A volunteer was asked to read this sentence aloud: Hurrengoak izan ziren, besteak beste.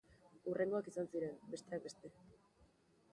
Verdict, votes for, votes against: rejected, 0, 2